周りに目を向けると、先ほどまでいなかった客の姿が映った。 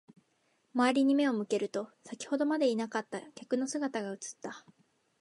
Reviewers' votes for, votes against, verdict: 2, 0, accepted